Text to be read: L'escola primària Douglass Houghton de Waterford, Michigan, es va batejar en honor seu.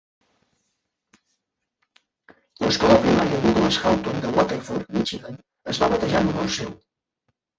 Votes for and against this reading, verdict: 0, 2, rejected